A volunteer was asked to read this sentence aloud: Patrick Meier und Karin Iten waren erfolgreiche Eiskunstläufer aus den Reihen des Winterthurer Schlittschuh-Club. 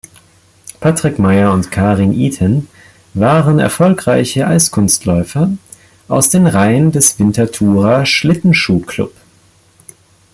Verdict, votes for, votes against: rejected, 1, 2